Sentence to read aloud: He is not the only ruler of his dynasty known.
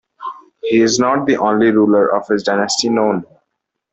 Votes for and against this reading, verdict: 2, 0, accepted